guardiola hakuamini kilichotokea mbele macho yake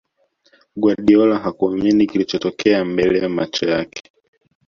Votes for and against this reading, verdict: 2, 0, accepted